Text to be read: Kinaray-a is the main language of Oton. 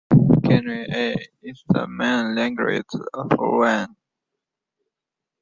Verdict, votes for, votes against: rejected, 0, 2